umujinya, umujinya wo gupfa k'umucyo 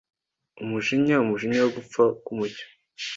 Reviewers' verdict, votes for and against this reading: accepted, 2, 0